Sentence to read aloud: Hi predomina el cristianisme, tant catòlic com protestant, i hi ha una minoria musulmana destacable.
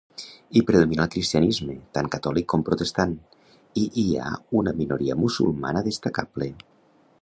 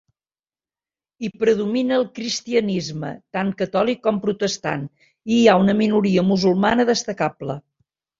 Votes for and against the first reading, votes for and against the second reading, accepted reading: 0, 2, 3, 0, second